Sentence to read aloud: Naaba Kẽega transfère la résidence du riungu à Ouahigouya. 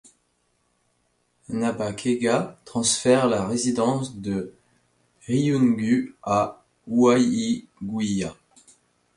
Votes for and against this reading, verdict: 1, 2, rejected